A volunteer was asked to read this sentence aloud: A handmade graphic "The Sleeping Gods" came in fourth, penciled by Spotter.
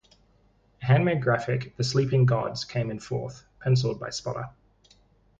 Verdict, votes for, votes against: rejected, 2, 2